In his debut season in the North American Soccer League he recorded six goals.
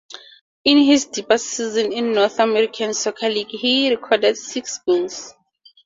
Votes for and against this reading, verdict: 4, 2, accepted